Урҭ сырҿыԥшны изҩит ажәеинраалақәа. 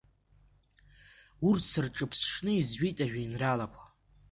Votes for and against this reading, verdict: 2, 1, accepted